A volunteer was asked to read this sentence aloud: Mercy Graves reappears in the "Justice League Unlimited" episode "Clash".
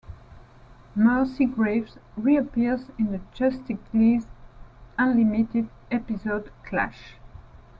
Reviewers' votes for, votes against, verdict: 0, 2, rejected